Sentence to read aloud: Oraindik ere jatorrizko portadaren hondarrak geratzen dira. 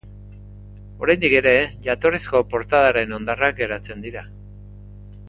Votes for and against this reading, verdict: 2, 0, accepted